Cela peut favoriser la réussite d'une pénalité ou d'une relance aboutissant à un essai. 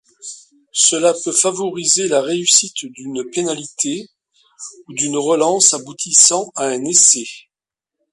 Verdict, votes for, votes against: accepted, 2, 1